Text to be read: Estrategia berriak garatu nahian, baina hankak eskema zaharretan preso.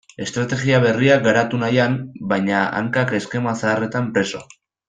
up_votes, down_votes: 2, 0